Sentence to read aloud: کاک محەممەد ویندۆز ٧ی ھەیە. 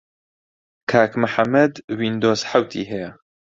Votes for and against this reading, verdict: 0, 2, rejected